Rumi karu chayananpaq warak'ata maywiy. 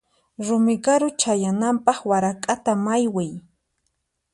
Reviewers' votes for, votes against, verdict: 4, 0, accepted